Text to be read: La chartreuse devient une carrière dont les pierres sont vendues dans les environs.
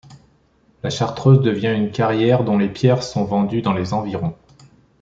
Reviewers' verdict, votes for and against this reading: rejected, 1, 2